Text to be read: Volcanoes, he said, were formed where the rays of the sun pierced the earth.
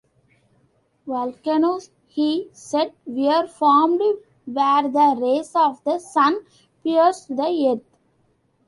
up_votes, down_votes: 2, 0